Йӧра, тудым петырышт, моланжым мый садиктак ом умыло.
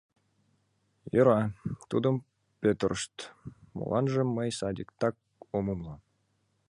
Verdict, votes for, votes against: accepted, 2, 1